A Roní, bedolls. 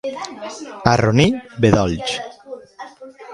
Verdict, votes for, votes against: rejected, 0, 2